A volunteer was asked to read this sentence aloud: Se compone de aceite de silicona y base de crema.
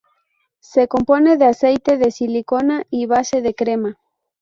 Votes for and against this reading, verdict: 0, 2, rejected